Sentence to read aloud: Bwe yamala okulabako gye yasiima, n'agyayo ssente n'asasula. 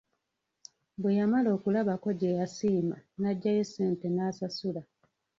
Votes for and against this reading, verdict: 0, 2, rejected